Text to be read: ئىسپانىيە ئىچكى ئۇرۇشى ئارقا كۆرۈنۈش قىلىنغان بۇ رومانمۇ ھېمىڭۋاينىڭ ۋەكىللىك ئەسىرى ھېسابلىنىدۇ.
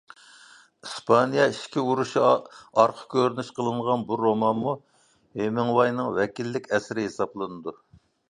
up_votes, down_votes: 0, 2